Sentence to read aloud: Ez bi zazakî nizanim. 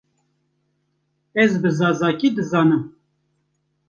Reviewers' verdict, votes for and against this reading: rejected, 1, 2